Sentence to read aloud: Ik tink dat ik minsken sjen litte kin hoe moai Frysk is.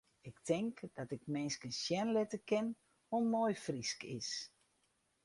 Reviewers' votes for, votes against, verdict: 4, 0, accepted